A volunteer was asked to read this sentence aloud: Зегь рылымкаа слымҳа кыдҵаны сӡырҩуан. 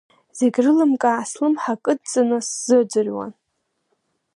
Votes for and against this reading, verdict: 0, 2, rejected